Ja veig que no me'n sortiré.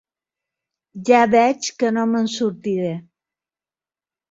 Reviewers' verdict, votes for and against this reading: accepted, 3, 0